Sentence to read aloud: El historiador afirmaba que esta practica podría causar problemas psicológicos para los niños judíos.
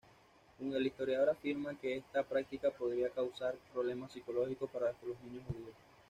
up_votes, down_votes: 2, 0